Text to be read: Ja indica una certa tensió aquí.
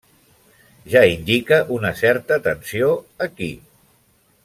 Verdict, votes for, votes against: accepted, 3, 0